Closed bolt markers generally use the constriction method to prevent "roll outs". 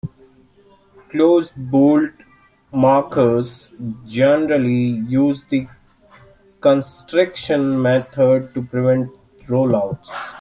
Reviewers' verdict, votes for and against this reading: accepted, 2, 0